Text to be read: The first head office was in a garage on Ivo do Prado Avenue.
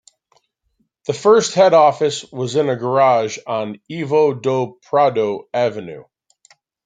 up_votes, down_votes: 1, 2